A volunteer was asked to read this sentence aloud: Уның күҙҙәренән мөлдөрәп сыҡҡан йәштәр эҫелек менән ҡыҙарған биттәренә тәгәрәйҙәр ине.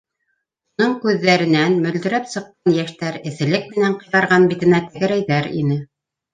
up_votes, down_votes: 0, 2